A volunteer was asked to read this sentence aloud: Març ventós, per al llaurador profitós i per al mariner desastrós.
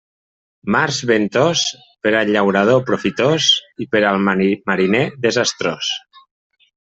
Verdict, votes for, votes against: rejected, 1, 2